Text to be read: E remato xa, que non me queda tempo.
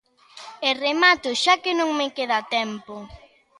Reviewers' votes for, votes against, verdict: 3, 0, accepted